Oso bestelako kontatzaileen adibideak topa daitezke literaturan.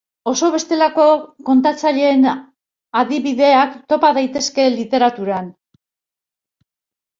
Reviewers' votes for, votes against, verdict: 1, 2, rejected